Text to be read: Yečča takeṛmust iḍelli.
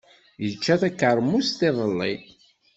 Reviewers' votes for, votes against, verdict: 2, 0, accepted